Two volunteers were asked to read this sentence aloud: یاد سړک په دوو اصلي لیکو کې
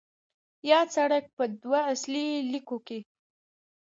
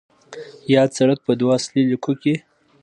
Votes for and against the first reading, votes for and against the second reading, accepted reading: 1, 2, 2, 0, second